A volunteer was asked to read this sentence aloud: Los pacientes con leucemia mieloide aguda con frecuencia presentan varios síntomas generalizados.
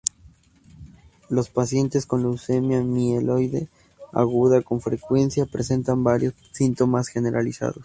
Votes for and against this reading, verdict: 2, 0, accepted